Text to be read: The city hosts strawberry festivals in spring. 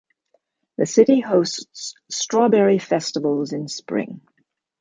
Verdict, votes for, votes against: accepted, 2, 0